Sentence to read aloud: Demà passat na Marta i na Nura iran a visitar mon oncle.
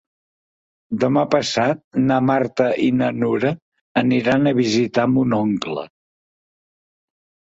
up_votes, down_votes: 1, 2